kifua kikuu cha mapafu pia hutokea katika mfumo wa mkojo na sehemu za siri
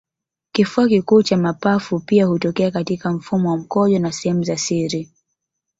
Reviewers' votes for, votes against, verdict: 1, 2, rejected